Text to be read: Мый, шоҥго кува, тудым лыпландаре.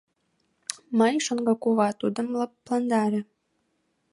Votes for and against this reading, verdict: 1, 2, rejected